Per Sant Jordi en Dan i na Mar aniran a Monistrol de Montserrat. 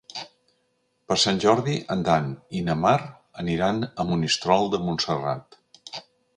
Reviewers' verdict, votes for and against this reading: accepted, 3, 0